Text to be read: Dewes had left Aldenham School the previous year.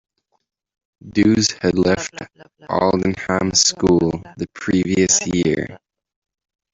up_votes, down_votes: 2, 0